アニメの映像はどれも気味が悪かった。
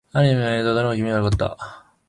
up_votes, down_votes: 0, 3